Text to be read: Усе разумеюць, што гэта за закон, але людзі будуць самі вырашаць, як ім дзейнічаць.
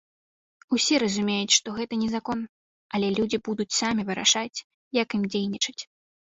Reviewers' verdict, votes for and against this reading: rejected, 1, 2